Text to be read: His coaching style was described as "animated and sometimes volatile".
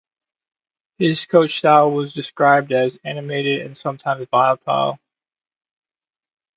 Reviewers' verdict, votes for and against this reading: rejected, 0, 2